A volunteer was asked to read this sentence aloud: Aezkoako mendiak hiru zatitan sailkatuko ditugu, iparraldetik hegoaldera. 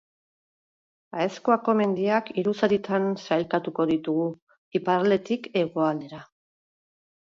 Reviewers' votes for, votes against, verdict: 0, 4, rejected